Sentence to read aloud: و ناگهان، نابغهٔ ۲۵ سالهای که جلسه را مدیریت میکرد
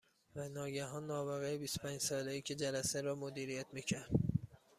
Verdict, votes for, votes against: rejected, 0, 2